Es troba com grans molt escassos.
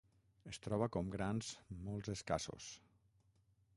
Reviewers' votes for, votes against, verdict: 3, 6, rejected